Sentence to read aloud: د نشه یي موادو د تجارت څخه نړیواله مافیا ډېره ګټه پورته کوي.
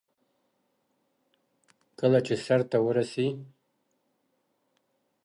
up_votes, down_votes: 0, 2